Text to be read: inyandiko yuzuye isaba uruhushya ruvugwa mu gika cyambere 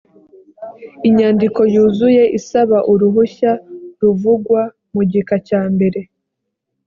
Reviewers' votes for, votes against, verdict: 2, 0, accepted